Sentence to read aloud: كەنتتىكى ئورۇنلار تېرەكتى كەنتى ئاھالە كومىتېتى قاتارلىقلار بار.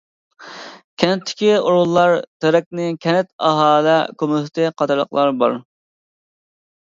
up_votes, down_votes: 0, 2